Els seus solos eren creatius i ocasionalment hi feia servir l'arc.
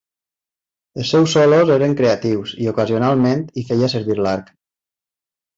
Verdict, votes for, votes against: accepted, 2, 0